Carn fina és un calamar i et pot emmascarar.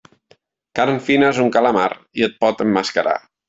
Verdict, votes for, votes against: accepted, 2, 0